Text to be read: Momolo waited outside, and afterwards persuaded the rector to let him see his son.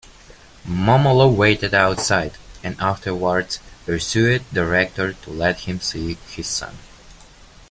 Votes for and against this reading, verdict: 0, 2, rejected